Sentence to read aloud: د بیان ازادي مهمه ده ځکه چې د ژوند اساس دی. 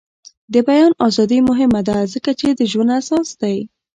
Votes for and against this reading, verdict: 1, 2, rejected